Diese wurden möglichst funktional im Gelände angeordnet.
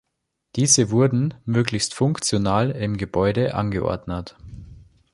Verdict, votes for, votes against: rejected, 1, 2